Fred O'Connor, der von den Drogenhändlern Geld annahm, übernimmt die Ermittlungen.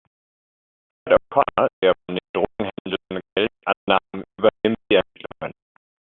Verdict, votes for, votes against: rejected, 0, 2